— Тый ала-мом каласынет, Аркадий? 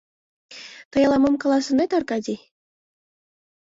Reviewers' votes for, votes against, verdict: 2, 0, accepted